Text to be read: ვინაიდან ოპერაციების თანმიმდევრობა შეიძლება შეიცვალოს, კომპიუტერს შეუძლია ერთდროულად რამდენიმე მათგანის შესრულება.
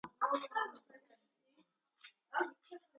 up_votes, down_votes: 0, 2